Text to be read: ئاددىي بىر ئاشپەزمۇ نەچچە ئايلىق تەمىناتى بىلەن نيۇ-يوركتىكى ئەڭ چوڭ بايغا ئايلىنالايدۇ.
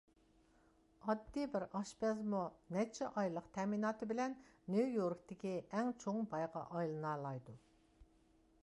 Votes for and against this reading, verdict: 2, 0, accepted